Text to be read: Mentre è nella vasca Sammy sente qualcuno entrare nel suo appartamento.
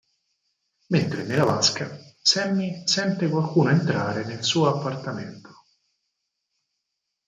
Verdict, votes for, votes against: accepted, 4, 2